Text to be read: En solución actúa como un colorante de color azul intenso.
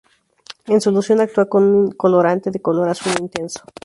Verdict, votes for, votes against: rejected, 0, 2